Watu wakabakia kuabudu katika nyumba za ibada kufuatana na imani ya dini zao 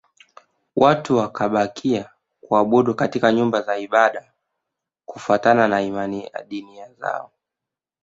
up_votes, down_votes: 2, 1